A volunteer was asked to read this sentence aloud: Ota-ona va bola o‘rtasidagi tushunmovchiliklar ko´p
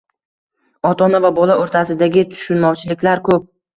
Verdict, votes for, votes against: rejected, 1, 2